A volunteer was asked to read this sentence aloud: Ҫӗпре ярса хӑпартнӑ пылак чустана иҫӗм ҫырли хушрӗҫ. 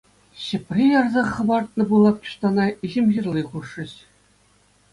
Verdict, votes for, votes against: accepted, 2, 0